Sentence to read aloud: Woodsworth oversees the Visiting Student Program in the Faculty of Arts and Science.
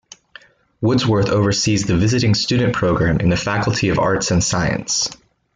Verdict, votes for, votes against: accepted, 2, 0